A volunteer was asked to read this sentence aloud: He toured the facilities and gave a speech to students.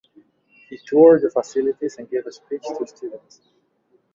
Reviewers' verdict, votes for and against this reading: accepted, 2, 0